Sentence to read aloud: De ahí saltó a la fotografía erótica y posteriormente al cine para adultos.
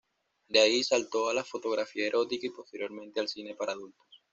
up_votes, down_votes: 2, 0